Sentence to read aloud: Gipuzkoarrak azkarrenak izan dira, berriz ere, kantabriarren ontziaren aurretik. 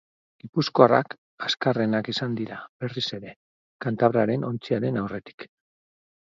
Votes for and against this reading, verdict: 2, 2, rejected